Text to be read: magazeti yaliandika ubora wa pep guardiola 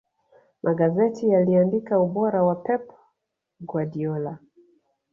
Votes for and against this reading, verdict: 2, 0, accepted